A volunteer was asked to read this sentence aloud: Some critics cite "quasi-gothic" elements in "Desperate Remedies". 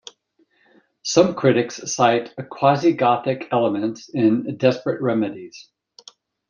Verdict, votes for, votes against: accepted, 2, 0